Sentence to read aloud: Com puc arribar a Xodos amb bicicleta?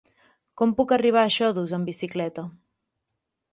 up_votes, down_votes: 3, 0